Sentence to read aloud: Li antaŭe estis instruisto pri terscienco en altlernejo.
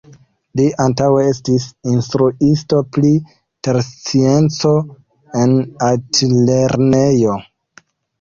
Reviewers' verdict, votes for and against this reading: rejected, 0, 2